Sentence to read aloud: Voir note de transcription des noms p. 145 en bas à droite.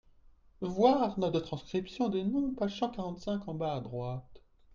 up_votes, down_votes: 0, 2